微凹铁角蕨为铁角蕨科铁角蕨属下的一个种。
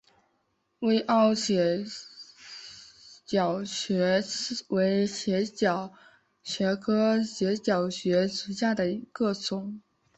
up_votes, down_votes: 0, 4